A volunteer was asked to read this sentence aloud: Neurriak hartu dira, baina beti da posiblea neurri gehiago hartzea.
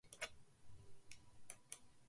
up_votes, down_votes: 0, 2